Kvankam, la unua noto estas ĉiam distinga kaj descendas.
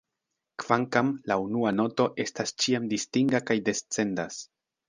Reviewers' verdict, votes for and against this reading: accepted, 2, 0